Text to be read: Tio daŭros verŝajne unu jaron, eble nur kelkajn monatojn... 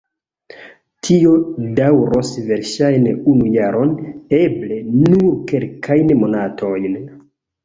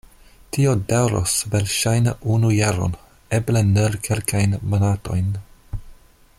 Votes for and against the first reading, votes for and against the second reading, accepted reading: 0, 2, 2, 0, second